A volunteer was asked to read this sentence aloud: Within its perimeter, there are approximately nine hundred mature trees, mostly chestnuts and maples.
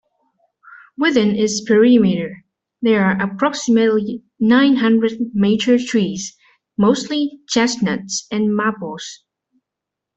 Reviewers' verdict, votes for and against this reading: rejected, 1, 2